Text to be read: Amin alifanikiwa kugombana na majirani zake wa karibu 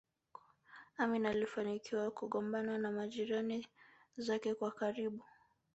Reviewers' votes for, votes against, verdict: 3, 0, accepted